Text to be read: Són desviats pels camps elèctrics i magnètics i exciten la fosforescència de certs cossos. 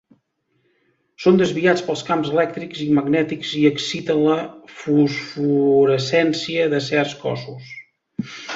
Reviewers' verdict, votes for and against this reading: rejected, 0, 2